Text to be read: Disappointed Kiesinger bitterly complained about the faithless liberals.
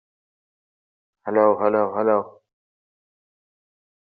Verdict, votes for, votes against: rejected, 0, 2